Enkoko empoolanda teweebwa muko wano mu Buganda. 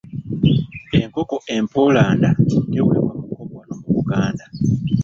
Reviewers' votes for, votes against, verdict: 1, 2, rejected